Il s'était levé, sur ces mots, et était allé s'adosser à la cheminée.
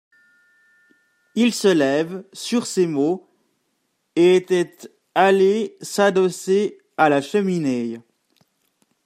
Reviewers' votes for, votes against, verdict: 0, 2, rejected